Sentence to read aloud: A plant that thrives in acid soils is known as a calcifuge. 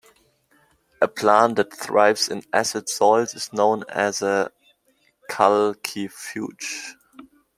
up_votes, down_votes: 2, 0